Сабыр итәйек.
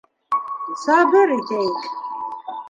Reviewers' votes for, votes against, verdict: 1, 2, rejected